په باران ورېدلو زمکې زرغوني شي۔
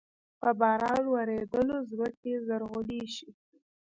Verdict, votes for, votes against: rejected, 1, 2